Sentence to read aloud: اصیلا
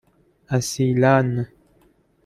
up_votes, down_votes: 2, 0